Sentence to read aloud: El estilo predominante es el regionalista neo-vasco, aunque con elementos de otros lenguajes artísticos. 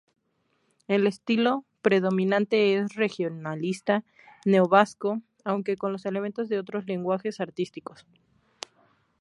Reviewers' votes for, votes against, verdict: 0, 2, rejected